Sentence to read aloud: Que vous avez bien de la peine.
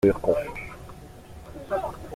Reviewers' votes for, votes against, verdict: 0, 2, rejected